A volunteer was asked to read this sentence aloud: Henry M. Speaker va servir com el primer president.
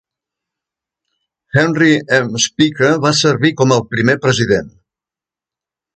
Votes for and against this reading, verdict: 0, 2, rejected